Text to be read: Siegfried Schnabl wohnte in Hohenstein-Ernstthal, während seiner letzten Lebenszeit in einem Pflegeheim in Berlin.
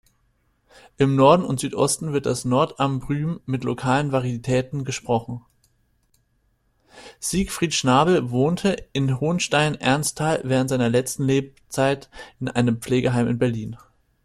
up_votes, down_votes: 0, 2